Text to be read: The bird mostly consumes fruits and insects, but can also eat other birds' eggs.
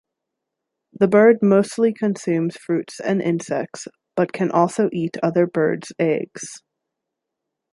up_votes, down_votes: 2, 0